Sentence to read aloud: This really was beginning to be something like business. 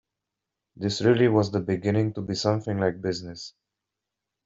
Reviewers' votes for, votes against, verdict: 1, 2, rejected